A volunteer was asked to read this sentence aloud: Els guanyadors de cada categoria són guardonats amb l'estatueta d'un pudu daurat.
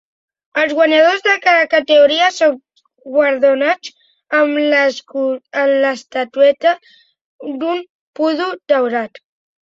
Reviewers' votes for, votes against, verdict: 2, 1, accepted